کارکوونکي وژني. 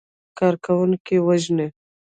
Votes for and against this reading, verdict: 1, 2, rejected